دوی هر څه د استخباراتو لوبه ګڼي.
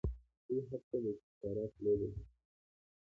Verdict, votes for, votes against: accepted, 2, 1